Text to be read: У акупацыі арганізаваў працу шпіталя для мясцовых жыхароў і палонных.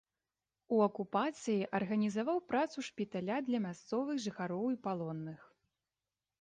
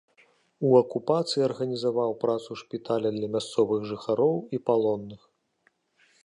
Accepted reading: second